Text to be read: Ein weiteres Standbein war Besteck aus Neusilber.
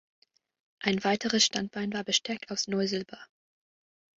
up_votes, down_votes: 2, 0